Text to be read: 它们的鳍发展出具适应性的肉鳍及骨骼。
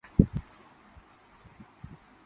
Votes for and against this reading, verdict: 0, 4, rejected